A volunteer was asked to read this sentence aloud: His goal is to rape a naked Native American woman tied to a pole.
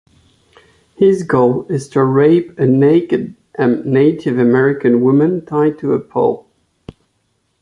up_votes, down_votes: 2, 0